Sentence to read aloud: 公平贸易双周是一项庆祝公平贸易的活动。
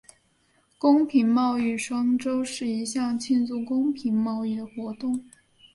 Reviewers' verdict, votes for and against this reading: accepted, 5, 0